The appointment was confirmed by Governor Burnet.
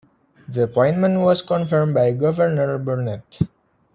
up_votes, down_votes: 2, 0